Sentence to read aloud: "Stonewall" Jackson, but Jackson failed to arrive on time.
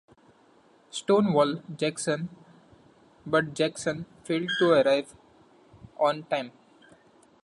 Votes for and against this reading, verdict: 2, 0, accepted